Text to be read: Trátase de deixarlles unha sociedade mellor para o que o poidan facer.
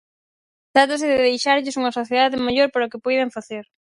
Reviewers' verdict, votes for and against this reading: rejected, 2, 2